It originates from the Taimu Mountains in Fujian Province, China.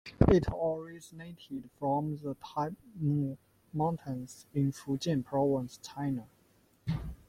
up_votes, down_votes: 1, 2